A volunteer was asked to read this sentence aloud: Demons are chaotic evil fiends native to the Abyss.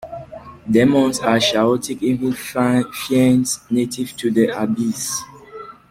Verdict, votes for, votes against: rejected, 0, 2